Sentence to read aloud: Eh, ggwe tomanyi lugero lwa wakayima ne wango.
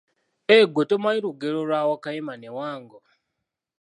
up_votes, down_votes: 2, 0